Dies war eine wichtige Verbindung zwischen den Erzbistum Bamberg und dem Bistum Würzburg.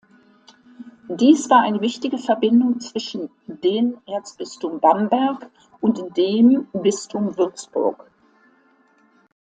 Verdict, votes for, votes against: accepted, 2, 1